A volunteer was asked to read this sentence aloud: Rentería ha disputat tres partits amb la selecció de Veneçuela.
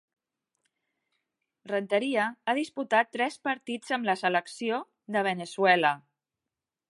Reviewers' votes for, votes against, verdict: 2, 0, accepted